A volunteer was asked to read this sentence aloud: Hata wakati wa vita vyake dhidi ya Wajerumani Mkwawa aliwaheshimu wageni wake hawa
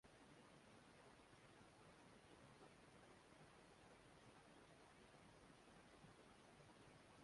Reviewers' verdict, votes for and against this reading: rejected, 0, 2